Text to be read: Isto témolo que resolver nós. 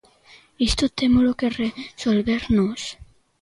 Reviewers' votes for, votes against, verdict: 2, 0, accepted